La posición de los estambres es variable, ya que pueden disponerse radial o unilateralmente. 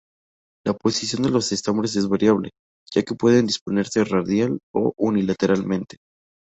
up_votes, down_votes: 2, 0